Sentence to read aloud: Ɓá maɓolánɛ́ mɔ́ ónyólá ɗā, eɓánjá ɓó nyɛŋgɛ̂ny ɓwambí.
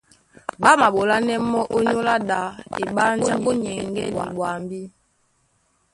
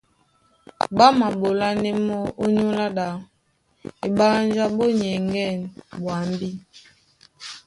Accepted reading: second